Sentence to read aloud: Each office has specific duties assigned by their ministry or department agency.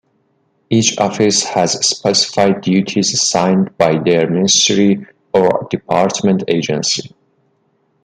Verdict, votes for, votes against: rejected, 0, 2